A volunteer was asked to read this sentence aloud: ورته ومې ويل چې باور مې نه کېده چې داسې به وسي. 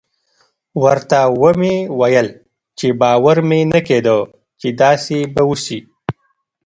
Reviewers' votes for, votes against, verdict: 1, 2, rejected